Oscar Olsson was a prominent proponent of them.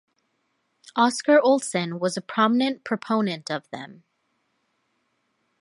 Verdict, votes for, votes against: accepted, 2, 0